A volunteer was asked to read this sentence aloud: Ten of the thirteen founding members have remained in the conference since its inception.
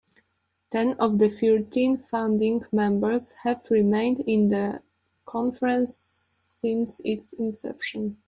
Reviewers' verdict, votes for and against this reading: rejected, 0, 2